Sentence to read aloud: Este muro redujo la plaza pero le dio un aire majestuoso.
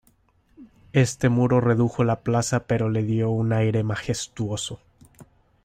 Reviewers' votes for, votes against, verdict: 1, 2, rejected